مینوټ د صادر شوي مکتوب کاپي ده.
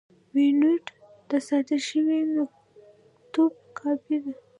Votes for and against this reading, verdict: 2, 1, accepted